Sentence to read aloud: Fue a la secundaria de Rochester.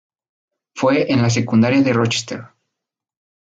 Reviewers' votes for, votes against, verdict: 0, 2, rejected